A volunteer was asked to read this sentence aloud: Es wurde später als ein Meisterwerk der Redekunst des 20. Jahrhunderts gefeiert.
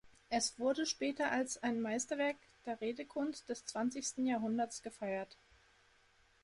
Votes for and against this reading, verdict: 0, 2, rejected